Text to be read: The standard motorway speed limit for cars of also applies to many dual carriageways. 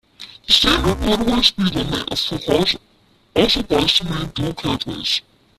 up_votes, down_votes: 1, 2